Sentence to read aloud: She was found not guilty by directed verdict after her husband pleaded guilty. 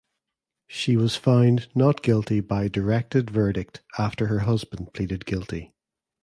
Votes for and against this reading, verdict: 1, 2, rejected